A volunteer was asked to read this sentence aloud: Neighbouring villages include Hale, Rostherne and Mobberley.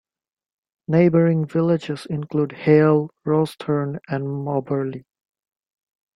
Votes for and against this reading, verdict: 2, 0, accepted